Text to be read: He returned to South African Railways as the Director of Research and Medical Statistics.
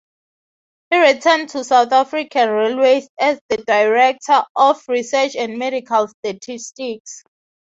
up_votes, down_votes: 3, 0